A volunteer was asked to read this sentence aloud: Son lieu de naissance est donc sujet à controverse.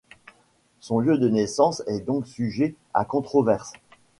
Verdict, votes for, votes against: accepted, 2, 0